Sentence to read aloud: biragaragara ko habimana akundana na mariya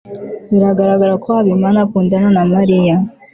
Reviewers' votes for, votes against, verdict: 2, 0, accepted